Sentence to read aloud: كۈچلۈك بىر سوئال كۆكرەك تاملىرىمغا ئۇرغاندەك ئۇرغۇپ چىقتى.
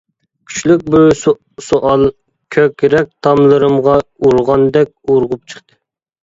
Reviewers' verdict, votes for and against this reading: rejected, 1, 2